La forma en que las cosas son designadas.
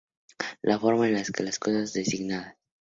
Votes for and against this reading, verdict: 0, 2, rejected